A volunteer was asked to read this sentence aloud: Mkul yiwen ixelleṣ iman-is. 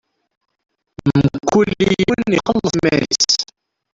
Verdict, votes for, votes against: rejected, 0, 2